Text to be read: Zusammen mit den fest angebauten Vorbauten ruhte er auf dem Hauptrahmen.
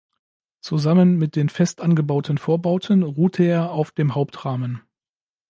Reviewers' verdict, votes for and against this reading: accepted, 3, 0